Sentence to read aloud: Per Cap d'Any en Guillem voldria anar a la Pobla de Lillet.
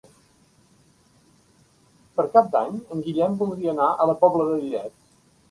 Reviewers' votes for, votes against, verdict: 3, 0, accepted